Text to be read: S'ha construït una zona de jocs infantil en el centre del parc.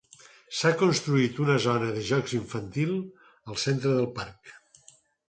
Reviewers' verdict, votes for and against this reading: accepted, 4, 2